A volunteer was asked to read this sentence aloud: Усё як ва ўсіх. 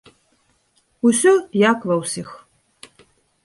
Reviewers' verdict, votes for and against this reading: accepted, 2, 1